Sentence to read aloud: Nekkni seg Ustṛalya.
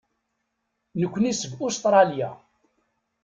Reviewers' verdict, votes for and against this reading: accepted, 2, 0